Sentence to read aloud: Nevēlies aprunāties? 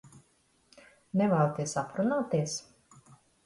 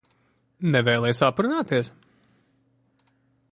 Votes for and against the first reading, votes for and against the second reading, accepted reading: 0, 2, 2, 0, second